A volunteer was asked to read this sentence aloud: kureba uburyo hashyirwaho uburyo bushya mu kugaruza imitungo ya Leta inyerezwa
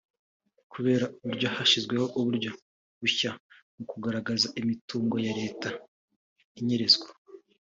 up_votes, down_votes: 2, 0